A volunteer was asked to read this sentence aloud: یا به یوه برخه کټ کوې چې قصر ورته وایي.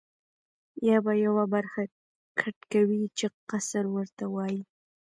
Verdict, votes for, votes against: accepted, 3, 1